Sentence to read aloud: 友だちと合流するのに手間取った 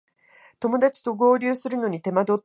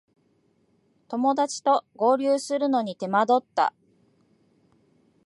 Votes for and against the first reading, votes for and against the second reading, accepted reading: 0, 2, 2, 1, second